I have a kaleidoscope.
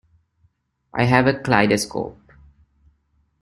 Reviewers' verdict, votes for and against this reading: accepted, 2, 0